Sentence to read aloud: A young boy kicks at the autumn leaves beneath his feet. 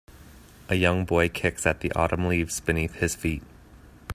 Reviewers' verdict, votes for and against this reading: accepted, 2, 0